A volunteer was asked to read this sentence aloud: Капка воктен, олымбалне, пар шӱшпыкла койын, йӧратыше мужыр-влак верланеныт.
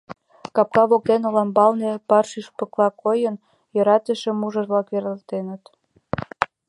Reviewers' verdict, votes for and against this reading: rejected, 0, 2